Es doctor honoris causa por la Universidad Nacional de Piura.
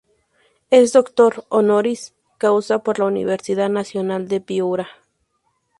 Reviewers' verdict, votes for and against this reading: accepted, 2, 0